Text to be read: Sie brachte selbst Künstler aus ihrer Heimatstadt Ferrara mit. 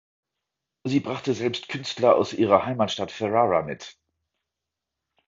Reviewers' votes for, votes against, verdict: 2, 0, accepted